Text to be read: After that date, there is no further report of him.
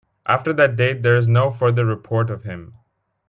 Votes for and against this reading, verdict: 2, 0, accepted